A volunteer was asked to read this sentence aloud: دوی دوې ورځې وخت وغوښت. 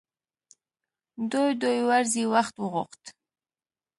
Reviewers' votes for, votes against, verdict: 2, 0, accepted